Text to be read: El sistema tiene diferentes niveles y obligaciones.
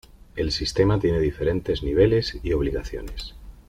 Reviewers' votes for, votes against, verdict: 2, 0, accepted